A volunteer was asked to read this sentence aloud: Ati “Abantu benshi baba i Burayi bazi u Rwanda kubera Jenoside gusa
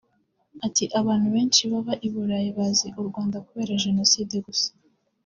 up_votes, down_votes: 2, 0